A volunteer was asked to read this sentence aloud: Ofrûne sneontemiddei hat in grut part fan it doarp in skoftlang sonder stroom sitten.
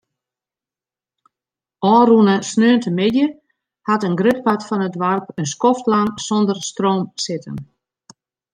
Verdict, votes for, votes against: accepted, 2, 0